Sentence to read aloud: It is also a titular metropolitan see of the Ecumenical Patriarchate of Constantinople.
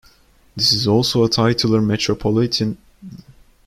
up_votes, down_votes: 0, 2